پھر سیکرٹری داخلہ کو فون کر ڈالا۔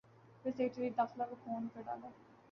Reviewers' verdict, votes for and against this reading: rejected, 2, 2